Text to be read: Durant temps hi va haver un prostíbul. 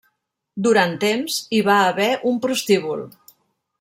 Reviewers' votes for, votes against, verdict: 0, 2, rejected